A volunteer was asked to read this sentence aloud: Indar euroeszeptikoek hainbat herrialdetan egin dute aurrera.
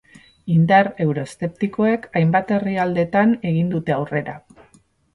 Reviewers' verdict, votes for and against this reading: accepted, 4, 0